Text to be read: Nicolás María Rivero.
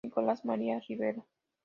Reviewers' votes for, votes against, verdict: 2, 0, accepted